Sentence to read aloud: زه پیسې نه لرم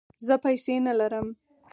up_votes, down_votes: 4, 0